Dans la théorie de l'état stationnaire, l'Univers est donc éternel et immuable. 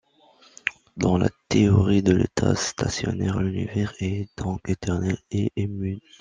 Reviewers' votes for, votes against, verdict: 0, 2, rejected